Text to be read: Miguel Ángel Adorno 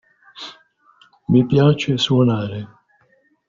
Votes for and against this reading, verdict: 0, 2, rejected